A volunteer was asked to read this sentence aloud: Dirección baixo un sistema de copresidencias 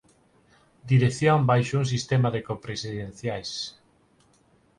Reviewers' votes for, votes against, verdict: 2, 4, rejected